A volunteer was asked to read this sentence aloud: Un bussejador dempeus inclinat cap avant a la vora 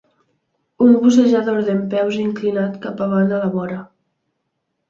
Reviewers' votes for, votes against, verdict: 1, 2, rejected